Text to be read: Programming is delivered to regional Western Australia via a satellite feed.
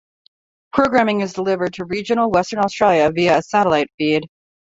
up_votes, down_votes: 1, 2